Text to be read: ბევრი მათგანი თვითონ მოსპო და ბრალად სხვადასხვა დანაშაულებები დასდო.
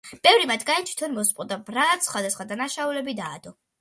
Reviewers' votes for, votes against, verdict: 0, 2, rejected